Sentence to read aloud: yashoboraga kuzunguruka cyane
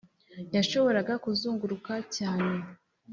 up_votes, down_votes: 4, 0